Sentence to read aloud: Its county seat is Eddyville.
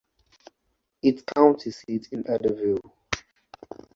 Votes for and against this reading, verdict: 2, 0, accepted